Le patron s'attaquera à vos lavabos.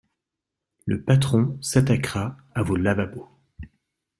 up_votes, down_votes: 2, 0